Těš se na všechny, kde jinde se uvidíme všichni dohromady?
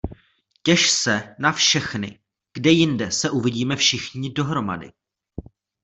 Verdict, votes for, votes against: rejected, 1, 2